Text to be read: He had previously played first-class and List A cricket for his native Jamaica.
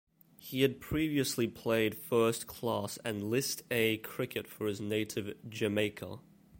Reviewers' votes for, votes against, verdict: 2, 0, accepted